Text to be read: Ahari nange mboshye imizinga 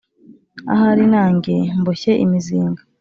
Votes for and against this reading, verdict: 2, 0, accepted